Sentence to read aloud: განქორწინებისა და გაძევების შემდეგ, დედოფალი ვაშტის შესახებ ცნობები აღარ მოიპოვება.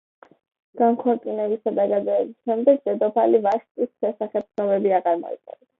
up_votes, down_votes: 2, 0